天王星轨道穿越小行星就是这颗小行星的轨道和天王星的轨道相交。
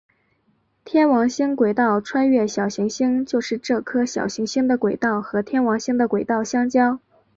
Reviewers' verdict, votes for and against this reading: accepted, 2, 0